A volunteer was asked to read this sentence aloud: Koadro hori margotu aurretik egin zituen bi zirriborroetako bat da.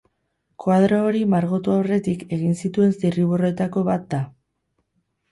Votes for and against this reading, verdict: 0, 2, rejected